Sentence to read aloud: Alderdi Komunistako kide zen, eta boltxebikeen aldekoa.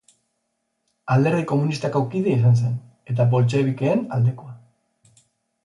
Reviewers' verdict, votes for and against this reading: rejected, 0, 4